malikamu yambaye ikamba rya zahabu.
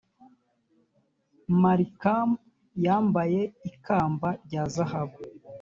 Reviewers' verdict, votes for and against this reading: accepted, 2, 0